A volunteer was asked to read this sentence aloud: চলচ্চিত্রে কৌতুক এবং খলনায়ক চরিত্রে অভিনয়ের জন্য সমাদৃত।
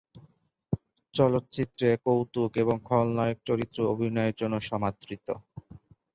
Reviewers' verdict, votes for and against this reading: accepted, 12, 0